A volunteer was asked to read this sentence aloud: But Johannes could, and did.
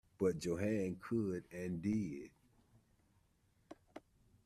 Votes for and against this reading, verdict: 0, 2, rejected